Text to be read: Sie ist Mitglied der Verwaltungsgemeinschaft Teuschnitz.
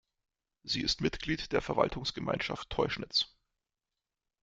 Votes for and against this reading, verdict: 2, 0, accepted